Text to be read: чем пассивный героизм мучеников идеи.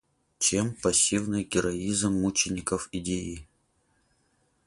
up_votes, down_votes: 4, 0